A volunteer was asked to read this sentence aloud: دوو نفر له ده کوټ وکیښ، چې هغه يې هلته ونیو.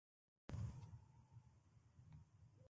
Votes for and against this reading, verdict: 0, 2, rejected